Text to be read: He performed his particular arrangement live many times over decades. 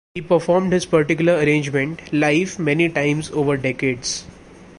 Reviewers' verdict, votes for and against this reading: accepted, 2, 0